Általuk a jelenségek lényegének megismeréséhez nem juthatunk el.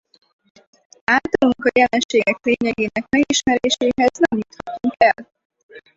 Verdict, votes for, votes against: rejected, 0, 4